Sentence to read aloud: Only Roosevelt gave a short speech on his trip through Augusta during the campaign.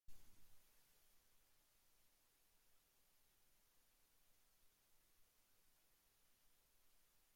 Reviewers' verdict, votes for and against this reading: rejected, 0, 2